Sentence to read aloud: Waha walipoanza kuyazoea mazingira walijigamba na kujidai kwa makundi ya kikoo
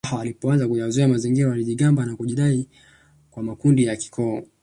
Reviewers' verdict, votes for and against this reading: rejected, 0, 2